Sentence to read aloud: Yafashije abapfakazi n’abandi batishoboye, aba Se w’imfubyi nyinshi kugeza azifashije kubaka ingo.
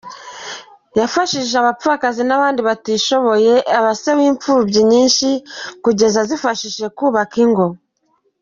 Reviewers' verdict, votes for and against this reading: accepted, 2, 0